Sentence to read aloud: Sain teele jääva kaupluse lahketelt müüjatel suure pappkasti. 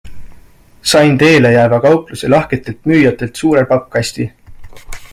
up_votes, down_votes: 2, 0